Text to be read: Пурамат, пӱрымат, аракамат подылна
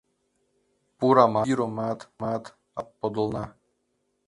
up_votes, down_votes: 1, 2